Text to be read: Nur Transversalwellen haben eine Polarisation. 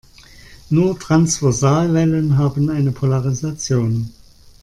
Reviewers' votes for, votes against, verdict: 2, 0, accepted